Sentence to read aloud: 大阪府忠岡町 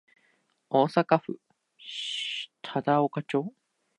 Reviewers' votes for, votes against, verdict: 0, 2, rejected